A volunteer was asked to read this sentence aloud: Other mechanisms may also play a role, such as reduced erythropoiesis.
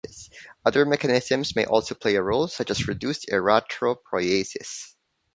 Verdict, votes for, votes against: rejected, 1, 2